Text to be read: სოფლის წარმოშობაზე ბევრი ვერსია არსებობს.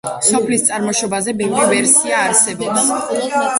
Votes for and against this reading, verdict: 2, 0, accepted